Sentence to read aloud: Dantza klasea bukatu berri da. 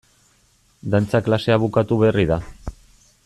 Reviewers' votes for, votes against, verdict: 2, 0, accepted